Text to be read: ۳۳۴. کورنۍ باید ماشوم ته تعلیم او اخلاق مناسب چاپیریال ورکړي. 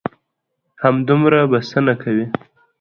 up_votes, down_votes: 0, 2